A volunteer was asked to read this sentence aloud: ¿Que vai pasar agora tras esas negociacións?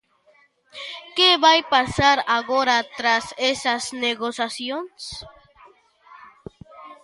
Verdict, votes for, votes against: rejected, 0, 2